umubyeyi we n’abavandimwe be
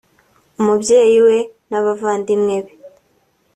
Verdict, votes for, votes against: accepted, 2, 0